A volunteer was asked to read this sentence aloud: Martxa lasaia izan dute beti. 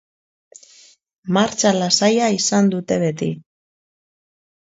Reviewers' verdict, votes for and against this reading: accepted, 2, 0